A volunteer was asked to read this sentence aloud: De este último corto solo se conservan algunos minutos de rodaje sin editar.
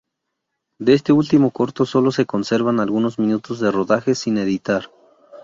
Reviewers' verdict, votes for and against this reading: accepted, 4, 0